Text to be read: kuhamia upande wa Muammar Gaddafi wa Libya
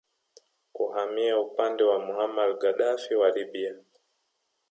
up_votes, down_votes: 2, 1